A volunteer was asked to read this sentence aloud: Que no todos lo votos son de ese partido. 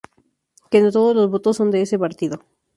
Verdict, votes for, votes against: rejected, 0, 2